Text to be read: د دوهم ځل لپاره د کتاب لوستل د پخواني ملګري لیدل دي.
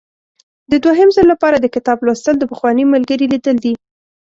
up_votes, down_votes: 2, 0